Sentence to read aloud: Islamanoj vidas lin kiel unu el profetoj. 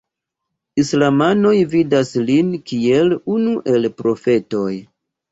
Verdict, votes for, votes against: accepted, 2, 0